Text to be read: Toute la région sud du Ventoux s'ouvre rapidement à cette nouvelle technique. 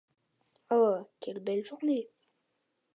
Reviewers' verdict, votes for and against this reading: rejected, 0, 2